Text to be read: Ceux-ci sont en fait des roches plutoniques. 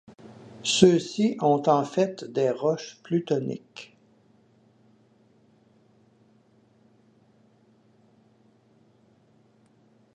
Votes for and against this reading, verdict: 1, 2, rejected